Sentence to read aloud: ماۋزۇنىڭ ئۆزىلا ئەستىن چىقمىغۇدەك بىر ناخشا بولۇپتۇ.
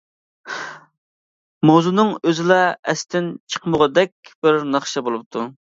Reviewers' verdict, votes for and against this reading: accepted, 2, 0